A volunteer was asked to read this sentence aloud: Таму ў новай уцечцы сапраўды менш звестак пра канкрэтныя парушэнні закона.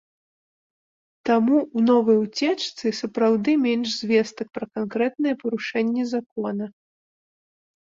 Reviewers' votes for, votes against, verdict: 2, 0, accepted